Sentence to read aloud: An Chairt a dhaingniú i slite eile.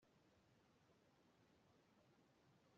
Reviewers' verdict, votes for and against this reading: rejected, 0, 2